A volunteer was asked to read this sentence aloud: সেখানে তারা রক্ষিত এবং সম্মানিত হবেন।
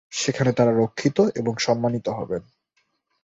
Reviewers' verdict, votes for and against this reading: accepted, 2, 0